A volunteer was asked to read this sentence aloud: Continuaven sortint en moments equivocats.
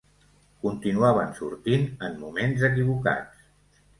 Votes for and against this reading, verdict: 2, 0, accepted